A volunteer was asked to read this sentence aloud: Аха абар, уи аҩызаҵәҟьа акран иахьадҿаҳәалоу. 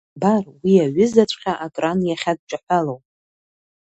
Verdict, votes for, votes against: rejected, 0, 2